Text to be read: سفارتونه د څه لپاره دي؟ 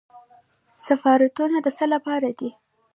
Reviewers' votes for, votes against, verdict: 1, 2, rejected